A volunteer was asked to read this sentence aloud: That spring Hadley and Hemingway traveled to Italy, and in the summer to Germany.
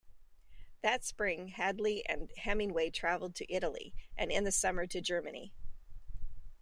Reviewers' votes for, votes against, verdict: 2, 0, accepted